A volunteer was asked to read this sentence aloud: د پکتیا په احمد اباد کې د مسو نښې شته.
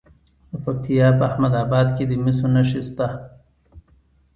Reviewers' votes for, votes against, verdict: 2, 0, accepted